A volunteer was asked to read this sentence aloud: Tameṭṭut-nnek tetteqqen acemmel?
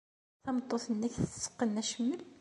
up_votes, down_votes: 2, 0